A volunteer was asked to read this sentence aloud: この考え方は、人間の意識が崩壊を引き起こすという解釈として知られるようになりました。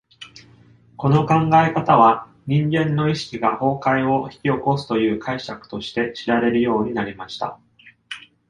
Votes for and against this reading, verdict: 2, 0, accepted